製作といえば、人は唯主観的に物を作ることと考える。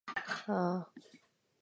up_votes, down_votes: 0, 5